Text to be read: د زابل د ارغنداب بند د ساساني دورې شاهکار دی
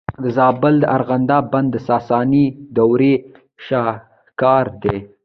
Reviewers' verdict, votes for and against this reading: rejected, 0, 2